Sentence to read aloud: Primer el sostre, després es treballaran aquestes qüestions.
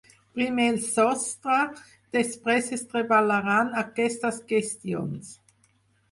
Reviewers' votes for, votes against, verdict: 0, 4, rejected